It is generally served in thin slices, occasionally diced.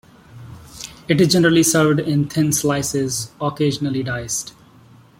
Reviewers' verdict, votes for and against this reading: accepted, 2, 0